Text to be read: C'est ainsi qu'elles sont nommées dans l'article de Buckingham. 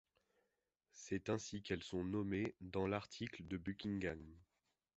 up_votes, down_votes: 3, 2